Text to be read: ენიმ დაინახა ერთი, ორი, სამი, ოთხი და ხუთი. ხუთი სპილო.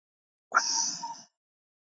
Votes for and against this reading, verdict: 0, 2, rejected